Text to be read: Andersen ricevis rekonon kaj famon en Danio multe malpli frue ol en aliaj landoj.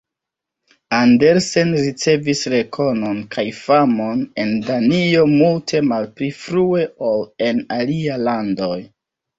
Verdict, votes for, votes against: rejected, 0, 2